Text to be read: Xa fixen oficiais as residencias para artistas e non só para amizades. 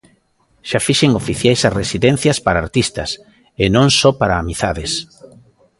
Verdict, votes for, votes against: accepted, 2, 0